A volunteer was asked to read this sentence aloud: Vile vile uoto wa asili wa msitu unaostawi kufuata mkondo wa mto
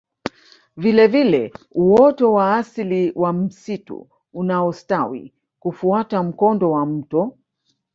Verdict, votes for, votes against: rejected, 0, 2